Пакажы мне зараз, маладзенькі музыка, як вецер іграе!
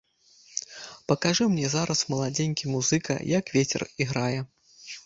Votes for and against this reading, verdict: 1, 2, rejected